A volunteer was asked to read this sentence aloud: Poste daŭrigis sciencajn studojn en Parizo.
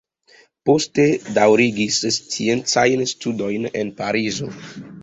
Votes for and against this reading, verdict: 2, 0, accepted